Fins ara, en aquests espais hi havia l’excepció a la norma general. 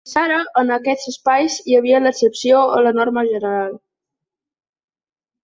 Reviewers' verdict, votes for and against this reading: rejected, 0, 2